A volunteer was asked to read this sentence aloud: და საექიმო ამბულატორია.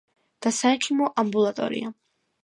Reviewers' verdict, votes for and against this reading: accepted, 2, 0